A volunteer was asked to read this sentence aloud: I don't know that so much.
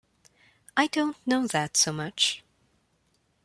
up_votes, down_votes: 2, 0